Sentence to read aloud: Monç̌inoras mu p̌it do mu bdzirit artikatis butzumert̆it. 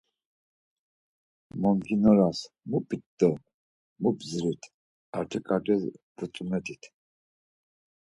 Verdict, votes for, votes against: accepted, 4, 0